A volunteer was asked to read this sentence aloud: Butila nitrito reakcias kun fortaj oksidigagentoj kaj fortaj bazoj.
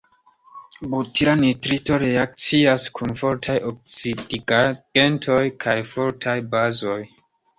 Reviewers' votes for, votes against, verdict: 2, 0, accepted